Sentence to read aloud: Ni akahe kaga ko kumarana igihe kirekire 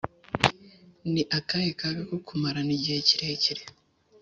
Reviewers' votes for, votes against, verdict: 2, 0, accepted